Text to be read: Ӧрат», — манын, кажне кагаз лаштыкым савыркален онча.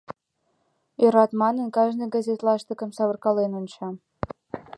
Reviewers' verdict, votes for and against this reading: rejected, 0, 2